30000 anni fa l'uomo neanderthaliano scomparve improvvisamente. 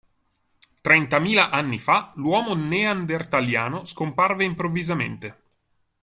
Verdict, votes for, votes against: rejected, 0, 2